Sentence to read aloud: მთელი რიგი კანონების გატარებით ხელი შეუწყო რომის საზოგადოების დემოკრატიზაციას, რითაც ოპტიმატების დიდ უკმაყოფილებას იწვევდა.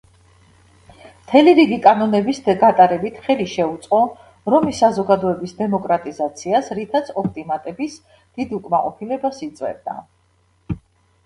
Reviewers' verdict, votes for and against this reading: rejected, 1, 2